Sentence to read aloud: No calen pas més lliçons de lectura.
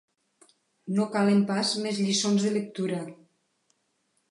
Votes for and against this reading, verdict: 3, 1, accepted